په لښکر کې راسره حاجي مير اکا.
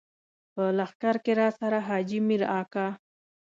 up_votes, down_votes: 2, 0